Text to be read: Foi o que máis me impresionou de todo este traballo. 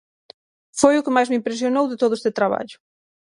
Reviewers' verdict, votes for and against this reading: accepted, 6, 0